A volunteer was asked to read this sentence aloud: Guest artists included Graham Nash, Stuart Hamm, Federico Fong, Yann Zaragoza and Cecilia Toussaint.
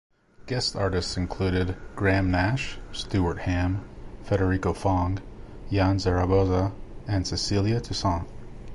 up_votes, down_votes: 2, 0